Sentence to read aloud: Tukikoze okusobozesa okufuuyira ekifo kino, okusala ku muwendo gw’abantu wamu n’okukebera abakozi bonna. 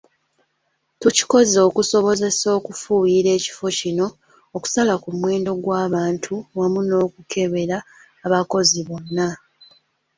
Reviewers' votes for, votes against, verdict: 2, 0, accepted